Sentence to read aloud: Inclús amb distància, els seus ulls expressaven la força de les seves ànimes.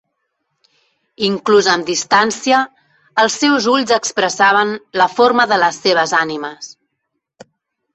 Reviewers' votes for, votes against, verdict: 0, 3, rejected